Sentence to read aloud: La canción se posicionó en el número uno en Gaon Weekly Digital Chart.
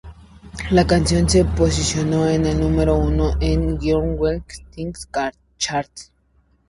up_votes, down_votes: 0, 2